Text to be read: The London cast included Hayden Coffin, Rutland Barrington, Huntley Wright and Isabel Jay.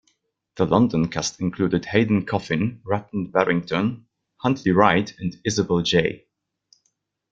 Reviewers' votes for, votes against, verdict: 2, 0, accepted